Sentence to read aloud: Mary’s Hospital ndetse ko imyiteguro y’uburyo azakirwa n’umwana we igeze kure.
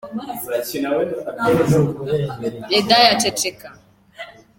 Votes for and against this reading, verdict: 0, 2, rejected